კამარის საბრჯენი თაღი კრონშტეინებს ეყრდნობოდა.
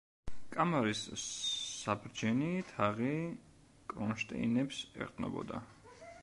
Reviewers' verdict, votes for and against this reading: rejected, 1, 2